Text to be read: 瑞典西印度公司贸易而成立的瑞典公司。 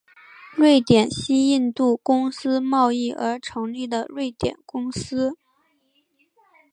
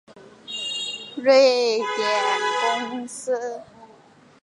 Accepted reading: first